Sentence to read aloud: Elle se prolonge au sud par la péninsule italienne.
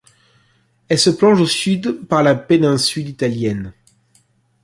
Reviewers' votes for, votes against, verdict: 1, 2, rejected